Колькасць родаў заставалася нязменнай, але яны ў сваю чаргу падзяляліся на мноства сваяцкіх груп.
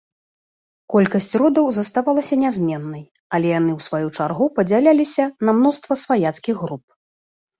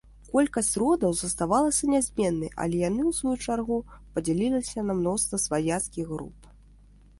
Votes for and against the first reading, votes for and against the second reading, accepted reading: 2, 0, 1, 2, first